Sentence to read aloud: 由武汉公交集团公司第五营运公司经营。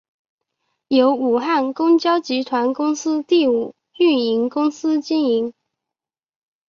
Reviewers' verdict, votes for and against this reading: rejected, 1, 2